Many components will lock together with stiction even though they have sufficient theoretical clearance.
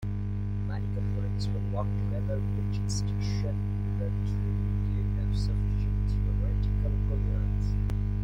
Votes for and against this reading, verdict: 0, 2, rejected